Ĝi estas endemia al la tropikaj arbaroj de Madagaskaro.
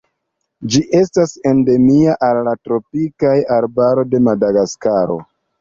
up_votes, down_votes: 2, 0